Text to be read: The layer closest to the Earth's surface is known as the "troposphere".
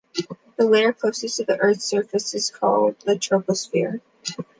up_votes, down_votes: 0, 2